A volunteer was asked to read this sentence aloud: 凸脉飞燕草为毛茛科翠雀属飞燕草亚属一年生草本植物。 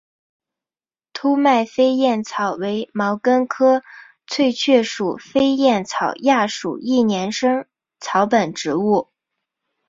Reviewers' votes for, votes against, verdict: 3, 2, accepted